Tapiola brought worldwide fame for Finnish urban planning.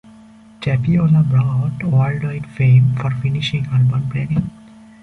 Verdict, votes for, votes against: rejected, 0, 2